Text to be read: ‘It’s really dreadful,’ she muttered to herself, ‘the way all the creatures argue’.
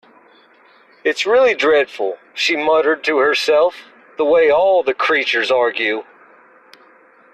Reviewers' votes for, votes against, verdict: 2, 0, accepted